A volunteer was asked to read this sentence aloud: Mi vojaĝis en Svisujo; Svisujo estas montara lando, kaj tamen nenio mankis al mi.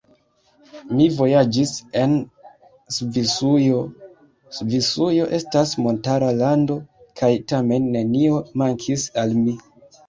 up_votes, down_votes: 2, 1